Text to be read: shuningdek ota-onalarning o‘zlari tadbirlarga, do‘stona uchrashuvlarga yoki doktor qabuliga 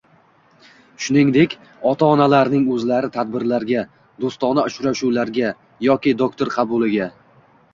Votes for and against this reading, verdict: 2, 1, accepted